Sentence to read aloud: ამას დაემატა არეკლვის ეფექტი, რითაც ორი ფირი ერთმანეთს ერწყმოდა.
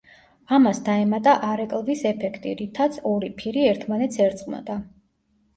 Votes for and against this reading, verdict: 2, 0, accepted